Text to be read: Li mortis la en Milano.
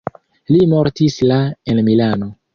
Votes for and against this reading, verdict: 2, 0, accepted